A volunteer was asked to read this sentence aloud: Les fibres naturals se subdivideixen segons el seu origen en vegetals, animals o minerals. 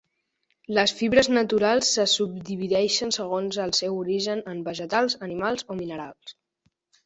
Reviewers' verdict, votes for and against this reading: accepted, 2, 0